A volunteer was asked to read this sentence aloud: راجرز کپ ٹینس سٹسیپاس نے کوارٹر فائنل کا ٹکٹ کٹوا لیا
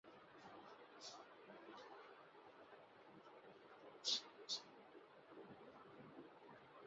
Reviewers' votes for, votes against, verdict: 3, 11, rejected